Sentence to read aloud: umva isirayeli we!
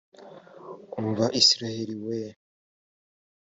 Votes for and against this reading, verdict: 4, 0, accepted